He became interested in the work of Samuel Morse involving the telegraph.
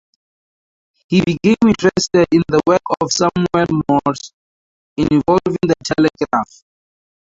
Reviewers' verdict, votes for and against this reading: accepted, 2, 0